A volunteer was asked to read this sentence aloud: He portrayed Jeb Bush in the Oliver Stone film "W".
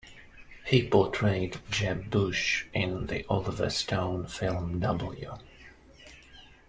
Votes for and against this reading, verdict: 2, 0, accepted